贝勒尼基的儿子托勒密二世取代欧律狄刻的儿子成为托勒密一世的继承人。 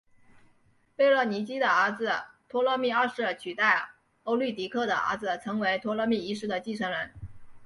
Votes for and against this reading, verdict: 2, 0, accepted